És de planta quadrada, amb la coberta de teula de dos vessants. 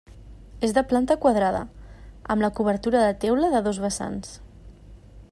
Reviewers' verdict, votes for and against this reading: rejected, 1, 2